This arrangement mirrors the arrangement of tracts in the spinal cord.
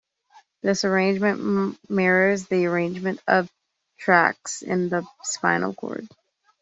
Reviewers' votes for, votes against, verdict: 2, 1, accepted